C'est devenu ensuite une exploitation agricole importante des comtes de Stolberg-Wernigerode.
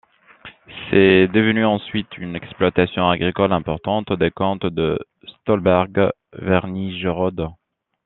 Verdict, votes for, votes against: accepted, 2, 0